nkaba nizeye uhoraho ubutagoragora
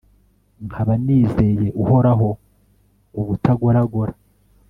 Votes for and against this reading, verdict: 2, 0, accepted